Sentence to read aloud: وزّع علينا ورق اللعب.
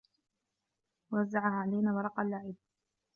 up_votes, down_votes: 2, 0